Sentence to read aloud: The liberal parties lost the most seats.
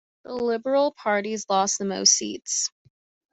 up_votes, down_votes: 2, 0